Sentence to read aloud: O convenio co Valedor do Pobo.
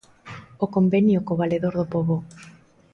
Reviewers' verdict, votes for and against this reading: accepted, 3, 0